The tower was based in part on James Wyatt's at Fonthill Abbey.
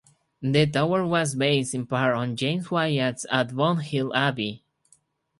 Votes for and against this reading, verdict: 4, 2, accepted